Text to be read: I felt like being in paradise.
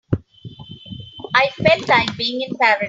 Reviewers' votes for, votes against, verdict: 0, 3, rejected